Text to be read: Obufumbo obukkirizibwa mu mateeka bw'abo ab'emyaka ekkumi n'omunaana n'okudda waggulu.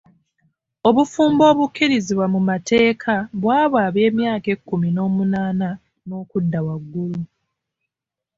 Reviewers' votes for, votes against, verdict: 2, 0, accepted